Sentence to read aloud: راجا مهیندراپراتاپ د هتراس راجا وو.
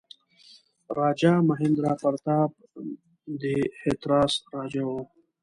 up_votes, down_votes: 2, 0